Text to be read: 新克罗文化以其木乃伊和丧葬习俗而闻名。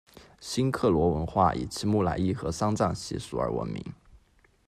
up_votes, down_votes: 2, 1